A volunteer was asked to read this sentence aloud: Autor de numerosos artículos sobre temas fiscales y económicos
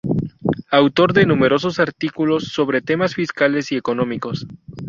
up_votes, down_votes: 2, 0